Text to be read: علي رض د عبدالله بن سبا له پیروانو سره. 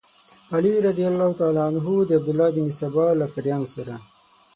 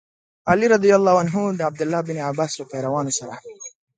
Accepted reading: second